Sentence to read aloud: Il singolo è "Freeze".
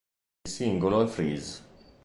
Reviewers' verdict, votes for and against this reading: rejected, 1, 2